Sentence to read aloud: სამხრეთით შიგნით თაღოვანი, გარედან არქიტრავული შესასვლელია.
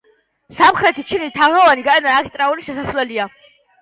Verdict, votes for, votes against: rejected, 1, 2